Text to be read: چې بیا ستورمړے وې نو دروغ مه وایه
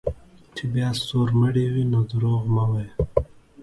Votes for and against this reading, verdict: 2, 1, accepted